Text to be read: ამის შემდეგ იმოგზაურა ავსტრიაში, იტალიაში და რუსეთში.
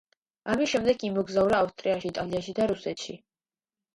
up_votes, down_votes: 2, 0